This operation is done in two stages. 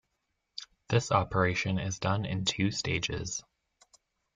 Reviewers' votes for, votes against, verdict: 2, 0, accepted